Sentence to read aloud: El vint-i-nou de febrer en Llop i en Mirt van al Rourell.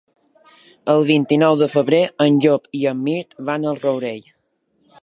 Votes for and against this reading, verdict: 3, 0, accepted